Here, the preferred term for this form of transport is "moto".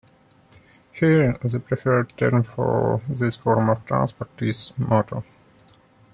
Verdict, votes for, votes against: accepted, 2, 0